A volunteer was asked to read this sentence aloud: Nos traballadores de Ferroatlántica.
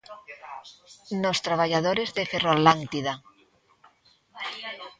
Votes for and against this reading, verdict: 0, 2, rejected